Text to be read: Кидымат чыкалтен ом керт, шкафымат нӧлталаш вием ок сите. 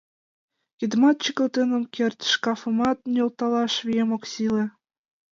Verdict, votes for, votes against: rejected, 0, 2